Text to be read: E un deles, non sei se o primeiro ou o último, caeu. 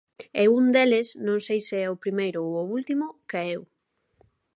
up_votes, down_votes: 2, 0